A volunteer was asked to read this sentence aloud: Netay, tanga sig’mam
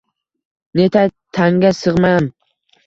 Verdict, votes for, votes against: accepted, 2, 1